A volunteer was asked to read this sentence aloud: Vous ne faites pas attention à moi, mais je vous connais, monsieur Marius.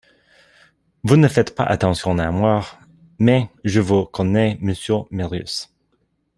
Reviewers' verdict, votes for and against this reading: accepted, 2, 1